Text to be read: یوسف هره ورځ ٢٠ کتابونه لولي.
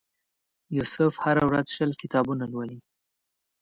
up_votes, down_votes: 0, 2